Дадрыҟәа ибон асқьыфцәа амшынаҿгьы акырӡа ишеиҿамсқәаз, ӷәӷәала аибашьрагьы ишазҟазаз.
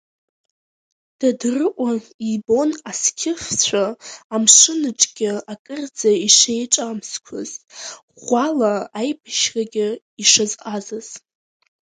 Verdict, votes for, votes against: rejected, 1, 2